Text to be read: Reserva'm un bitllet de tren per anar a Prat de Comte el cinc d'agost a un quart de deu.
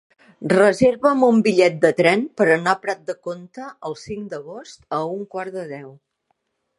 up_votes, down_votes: 2, 0